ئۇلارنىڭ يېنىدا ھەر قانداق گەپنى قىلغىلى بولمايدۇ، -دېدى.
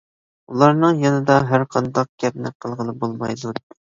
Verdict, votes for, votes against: rejected, 1, 2